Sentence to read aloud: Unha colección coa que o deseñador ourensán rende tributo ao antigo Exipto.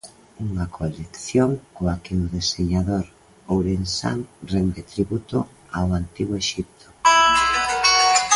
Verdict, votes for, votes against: rejected, 1, 2